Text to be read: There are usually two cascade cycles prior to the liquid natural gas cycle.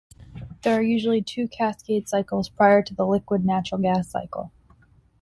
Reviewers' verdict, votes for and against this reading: accepted, 2, 0